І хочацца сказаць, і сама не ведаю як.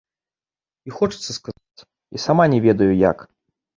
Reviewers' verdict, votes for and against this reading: rejected, 0, 2